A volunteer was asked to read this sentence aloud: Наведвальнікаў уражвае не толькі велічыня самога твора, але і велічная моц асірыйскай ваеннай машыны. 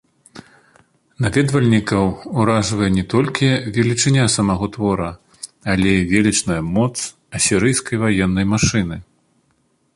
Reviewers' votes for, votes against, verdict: 1, 2, rejected